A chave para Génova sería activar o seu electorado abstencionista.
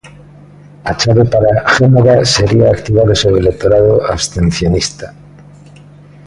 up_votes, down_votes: 2, 0